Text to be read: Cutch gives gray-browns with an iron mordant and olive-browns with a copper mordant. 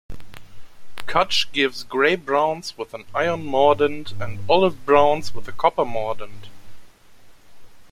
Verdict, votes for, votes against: accepted, 3, 0